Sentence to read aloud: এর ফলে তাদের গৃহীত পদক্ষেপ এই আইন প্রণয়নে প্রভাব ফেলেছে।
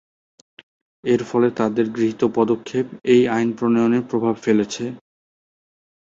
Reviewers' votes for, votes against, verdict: 2, 0, accepted